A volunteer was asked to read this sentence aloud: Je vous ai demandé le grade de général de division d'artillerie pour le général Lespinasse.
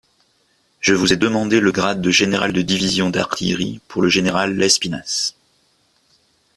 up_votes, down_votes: 2, 0